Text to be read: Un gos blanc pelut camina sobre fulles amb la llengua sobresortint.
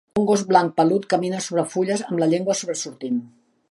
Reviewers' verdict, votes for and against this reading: accepted, 6, 0